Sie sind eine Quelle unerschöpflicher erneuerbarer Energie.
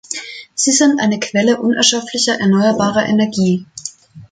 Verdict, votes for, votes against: accepted, 2, 0